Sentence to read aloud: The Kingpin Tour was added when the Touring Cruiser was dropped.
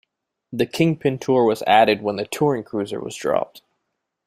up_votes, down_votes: 2, 0